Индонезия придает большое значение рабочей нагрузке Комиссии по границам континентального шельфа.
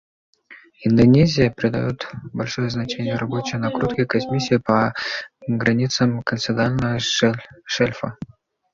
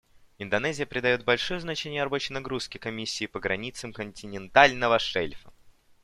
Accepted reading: second